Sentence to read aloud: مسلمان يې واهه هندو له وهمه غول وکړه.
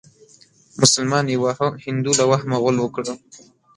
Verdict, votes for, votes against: rejected, 1, 2